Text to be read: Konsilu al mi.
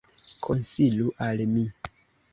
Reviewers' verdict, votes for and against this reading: accepted, 2, 0